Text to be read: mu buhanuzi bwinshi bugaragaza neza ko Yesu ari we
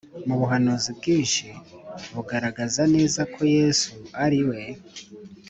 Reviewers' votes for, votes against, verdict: 3, 0, accepted